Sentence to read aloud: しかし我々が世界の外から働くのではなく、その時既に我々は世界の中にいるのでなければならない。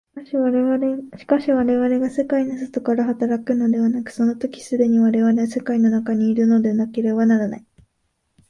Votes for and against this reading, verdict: 2, 0, accepted